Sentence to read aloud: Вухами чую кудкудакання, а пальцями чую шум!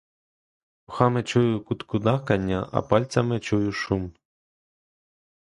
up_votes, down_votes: 1, 2